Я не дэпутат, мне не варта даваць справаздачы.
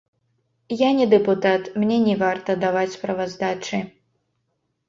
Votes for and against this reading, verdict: 1, 2, rejected